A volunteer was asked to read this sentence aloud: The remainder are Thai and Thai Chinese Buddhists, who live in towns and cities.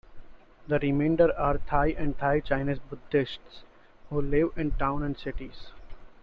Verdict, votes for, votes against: rejected, 0, 2